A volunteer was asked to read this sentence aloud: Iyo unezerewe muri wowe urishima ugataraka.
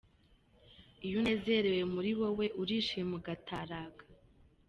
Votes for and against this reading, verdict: 0, 2, rejected